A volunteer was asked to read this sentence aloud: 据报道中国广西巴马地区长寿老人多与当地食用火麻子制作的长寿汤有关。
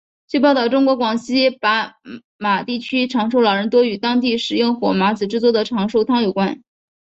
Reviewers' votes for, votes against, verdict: 2, 0, accepted